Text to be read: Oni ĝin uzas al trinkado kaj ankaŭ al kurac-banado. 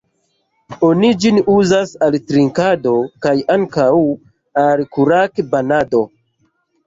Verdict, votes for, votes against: rejected, 1, 2